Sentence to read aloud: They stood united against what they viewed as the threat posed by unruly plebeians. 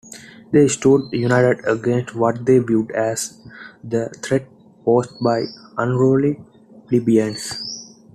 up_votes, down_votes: 2, 0